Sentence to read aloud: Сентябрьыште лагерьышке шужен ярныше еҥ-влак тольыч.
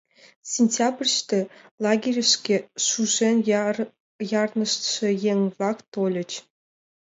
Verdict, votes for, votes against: rejected, 0, 2